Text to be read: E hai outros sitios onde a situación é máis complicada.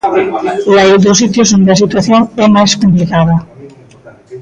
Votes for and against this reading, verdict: 0, 2, rejected